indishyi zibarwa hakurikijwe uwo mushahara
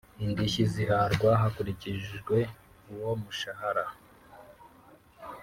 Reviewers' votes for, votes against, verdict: 0, 2, rejected